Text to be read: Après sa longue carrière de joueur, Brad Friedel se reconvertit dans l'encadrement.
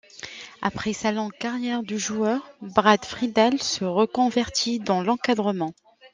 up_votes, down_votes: 2, 0